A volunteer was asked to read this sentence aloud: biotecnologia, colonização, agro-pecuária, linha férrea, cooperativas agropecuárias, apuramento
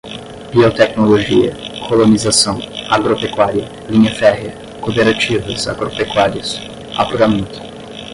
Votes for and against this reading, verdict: 5, 5, rejected